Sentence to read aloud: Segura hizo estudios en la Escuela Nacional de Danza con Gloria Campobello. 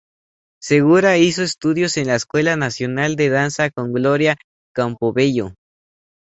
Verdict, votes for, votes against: accepted, 2, 0